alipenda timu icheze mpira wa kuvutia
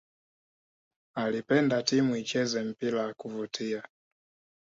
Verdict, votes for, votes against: rejected, 1, 2